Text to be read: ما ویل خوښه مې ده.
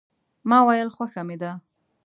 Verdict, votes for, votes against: accepted, 3, 0